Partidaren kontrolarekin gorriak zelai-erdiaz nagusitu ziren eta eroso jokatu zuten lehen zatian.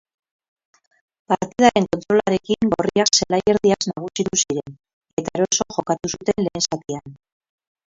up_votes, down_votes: 0, 2